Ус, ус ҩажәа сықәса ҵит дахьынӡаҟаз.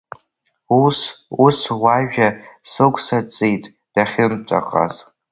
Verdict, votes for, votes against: rejected, 1, 2